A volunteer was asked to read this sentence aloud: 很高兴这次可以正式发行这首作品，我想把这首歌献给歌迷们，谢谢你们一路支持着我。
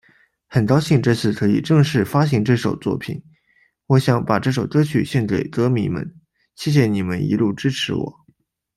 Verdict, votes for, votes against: rejected, 1, 2